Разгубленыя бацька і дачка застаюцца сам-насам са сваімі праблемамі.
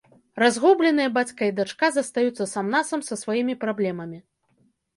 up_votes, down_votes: 2, 0